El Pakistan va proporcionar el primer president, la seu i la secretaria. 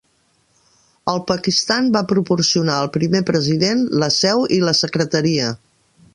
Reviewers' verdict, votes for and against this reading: rejected, 1, 2